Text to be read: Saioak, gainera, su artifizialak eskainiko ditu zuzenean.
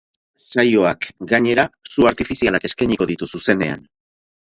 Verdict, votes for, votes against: rejected, 2, 2